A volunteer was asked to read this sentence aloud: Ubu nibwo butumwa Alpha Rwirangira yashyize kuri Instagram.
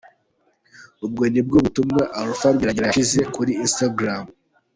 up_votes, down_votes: 1, 3